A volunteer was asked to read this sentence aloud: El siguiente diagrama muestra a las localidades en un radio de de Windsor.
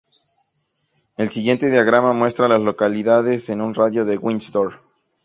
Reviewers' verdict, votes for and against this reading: rejected, 0, 2